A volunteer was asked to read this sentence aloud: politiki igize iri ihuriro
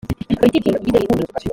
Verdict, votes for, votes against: rejected, 1, 2